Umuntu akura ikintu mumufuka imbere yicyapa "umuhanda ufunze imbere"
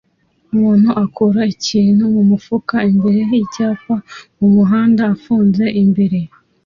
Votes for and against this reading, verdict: 2, 0, accepted